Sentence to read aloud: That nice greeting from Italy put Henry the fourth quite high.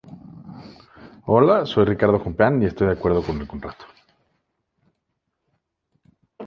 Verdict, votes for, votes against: rejected, 0, 2